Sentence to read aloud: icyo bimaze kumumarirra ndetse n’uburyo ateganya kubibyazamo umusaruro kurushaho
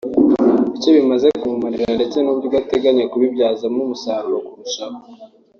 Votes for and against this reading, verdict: 2, 0, accepted